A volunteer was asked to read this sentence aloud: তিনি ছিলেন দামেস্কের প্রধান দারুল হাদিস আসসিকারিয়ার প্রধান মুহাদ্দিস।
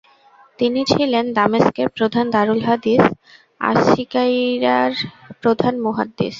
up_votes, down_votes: 0, 4